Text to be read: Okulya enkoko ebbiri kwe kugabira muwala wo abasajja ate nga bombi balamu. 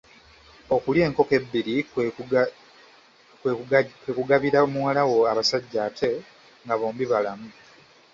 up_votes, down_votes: 1, 2